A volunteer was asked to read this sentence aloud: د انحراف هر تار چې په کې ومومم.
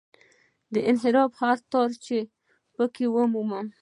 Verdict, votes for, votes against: accepted, 2, 1